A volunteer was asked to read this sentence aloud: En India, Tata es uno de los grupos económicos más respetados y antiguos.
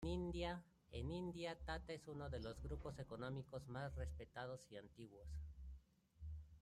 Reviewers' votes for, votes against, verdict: 0, 2, rejected